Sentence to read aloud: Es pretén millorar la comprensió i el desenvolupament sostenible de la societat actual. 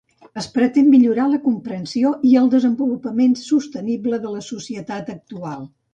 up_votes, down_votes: 2, 0